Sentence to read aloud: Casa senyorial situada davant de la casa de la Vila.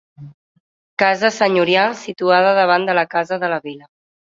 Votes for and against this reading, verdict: 2, 0, accepted